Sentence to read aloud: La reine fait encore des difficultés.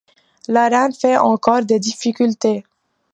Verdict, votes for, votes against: accepted, 2, 0